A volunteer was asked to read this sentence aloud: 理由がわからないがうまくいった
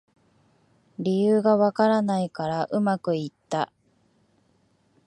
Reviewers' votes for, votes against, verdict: 0, 2, rejected